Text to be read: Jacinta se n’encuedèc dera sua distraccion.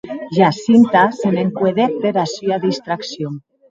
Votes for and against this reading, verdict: 0, 2, rejected